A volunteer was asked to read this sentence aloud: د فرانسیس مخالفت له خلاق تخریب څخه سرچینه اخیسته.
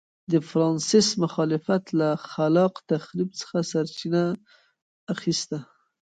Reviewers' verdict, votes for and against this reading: rejected, 1, 2